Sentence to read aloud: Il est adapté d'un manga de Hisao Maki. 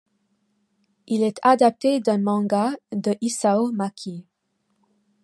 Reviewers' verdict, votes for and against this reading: accepted, 2, 0